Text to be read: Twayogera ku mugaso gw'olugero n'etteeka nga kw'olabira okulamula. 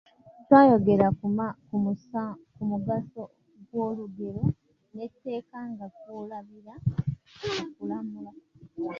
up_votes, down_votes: 0, 2